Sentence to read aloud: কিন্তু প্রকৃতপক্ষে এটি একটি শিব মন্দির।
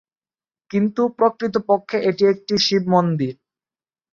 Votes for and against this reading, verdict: 3, 0, accepted